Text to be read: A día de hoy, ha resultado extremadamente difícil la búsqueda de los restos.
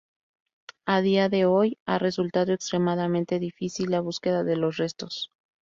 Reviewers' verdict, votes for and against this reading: rejected, 0, 2